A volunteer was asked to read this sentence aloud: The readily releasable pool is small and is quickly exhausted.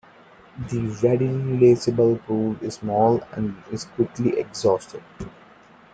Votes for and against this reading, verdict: 2, 1, accepted